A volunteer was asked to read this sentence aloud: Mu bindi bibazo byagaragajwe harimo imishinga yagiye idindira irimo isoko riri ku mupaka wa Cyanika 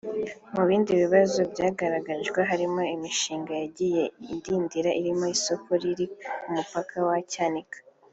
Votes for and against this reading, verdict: 4, 0, accepted